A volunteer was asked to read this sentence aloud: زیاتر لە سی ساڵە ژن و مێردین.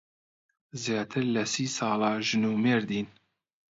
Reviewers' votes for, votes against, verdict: 2, 0, accepted